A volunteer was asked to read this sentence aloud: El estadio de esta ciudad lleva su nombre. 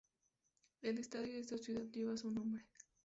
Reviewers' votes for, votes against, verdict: 2, 0, accepted